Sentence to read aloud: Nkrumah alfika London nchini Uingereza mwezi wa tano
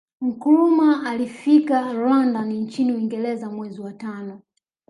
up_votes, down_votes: 1, 2